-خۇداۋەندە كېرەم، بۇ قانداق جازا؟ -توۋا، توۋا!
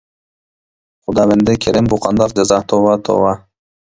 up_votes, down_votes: 0, 2